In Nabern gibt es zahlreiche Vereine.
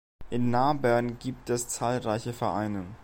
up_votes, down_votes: 2, 0